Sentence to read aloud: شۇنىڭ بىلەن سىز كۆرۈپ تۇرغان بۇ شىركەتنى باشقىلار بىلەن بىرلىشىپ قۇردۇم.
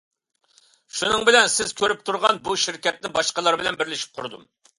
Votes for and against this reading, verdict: 2, 0, accepted